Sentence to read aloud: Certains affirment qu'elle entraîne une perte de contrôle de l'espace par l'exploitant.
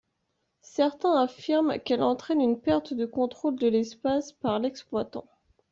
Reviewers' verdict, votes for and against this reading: accepted, 2, 0